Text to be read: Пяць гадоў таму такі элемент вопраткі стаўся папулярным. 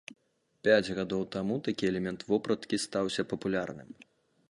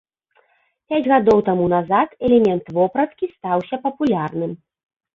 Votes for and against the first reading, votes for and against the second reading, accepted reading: 2, 0, 0, 2, first